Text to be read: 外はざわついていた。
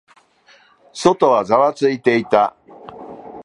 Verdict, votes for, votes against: accepted, 2, 0